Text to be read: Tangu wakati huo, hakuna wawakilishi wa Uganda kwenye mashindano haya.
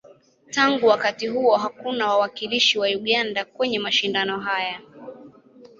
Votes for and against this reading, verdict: 2, 0, accepted